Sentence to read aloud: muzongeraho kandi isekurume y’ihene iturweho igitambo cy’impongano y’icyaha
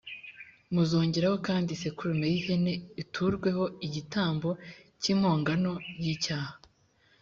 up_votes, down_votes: 2, 0